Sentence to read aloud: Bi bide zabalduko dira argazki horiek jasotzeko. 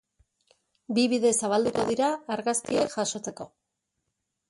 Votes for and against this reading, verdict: 2, 2, rejected